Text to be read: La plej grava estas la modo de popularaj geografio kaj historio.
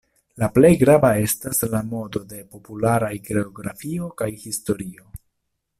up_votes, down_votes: 2, 0